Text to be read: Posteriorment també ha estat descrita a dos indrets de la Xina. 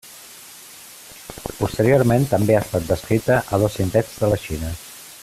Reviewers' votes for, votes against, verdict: 2, 1, accepted